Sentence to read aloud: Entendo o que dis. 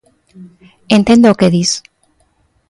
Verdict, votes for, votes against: accepted, 2, 0